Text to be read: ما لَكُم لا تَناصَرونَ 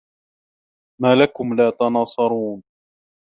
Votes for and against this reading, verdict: 2, 0, accepted